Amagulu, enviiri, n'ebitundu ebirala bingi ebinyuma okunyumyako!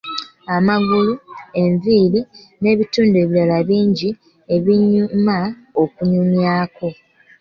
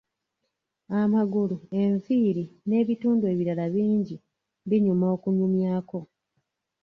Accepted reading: first